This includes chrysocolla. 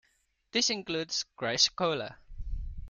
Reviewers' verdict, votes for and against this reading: accepted, 2, 0